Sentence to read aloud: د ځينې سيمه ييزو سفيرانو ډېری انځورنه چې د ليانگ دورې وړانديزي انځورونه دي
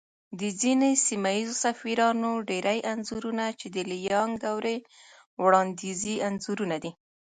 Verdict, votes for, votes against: rejected, 0, 2